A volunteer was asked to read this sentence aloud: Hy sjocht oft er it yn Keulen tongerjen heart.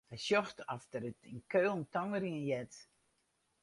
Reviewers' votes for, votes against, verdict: 2, 2, rejected